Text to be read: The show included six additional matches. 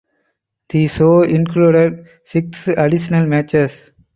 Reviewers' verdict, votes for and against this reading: accepted, 4, 0